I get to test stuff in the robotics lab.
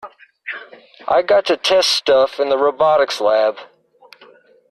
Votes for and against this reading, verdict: 1, 2, rejected